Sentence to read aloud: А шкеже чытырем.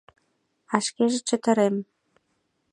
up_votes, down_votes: 5, 0